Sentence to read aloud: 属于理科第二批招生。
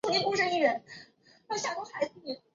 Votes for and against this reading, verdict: 1, 2, rejected